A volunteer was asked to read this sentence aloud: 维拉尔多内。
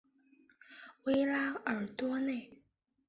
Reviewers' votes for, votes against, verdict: 2, 0, accepted